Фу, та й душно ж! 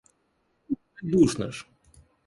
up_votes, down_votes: 0, 3